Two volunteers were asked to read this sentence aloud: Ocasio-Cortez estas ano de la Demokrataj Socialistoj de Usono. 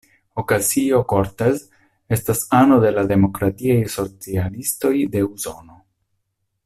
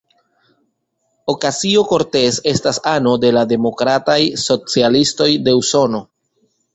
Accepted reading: second